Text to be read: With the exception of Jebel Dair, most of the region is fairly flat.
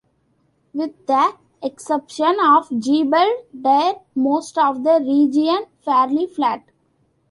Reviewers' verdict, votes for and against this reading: rejected, 1, 2